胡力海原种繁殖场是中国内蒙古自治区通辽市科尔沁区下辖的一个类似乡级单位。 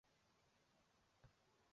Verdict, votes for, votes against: rejected, 0, 2